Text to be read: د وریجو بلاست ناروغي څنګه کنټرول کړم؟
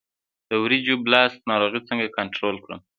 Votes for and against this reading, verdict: 2, 0, accepted